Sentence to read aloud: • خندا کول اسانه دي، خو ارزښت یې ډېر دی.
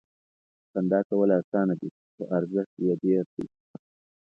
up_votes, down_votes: 2, 0